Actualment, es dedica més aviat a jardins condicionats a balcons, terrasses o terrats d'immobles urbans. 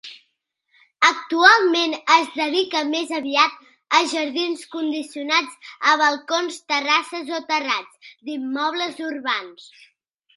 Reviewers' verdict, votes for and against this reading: accepted, 2, 0